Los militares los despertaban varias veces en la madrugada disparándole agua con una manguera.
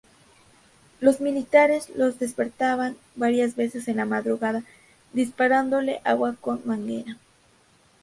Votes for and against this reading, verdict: 0, 2, rejected